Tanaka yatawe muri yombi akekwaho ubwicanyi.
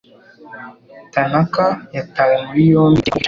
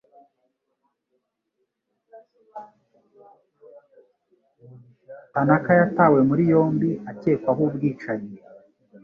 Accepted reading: second